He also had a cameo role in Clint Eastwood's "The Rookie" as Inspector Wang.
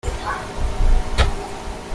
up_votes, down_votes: 0, 2